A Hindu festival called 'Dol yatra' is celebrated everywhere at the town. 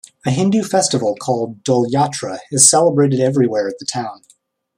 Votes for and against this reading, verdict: 1, 2, rejected